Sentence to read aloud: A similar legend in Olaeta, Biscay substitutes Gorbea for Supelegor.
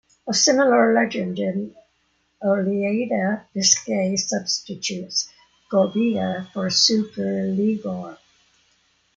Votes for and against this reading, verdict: 0, 2, rejected